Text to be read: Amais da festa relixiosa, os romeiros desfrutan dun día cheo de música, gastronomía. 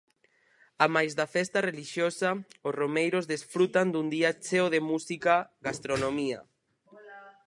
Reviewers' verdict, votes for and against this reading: rejected, 0, 4